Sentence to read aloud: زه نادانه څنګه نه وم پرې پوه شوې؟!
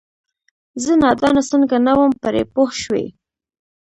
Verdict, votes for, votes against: rejected, 0, 2